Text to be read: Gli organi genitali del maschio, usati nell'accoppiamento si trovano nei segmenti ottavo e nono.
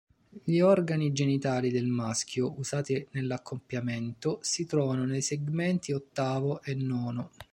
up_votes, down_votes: 0, 2